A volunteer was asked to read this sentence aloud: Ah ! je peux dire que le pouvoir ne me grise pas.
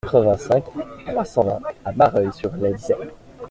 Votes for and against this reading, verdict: 0, 2, rejected